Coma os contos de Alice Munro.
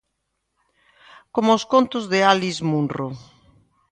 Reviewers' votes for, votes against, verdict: 2, 0, accepted